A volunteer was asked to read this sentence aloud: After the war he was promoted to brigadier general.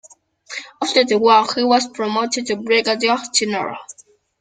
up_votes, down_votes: 2, 1